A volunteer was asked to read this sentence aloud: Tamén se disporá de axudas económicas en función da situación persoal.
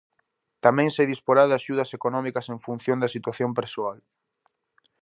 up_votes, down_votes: 4, 0